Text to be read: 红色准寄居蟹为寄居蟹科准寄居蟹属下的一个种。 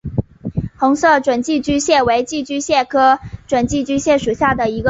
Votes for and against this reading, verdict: 2, 1, accepted